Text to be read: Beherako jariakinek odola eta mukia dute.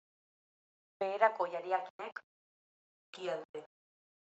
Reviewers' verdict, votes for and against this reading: rejected, 0, 2